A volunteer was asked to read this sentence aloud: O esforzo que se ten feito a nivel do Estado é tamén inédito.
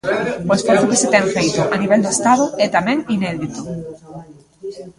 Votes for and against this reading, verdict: 1, 2, rejected